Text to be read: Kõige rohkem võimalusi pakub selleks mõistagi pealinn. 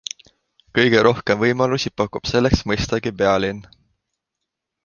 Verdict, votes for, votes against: accepted, 2, 0